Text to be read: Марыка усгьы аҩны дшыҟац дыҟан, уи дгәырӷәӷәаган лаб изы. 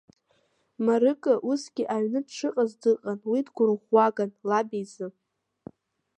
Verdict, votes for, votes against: accepted, 2, 0